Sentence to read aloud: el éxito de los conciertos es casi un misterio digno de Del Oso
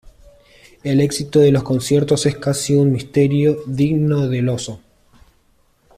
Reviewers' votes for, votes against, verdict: 2, 0, accepted